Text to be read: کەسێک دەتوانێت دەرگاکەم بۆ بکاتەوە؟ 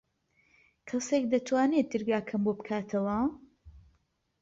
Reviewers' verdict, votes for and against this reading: accepted, 2, 0